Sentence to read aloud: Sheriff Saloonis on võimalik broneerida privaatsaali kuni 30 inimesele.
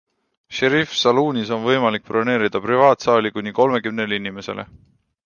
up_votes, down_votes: 0, 2